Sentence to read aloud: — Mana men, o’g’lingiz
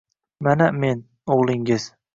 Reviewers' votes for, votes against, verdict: 2, 0, accepted